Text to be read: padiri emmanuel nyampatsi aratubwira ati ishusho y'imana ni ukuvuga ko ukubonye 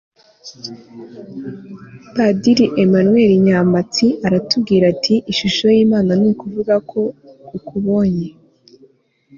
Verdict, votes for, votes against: accepted, 2, 0